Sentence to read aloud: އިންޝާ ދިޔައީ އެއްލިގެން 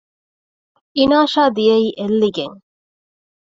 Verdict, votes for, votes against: rejected, 1, 2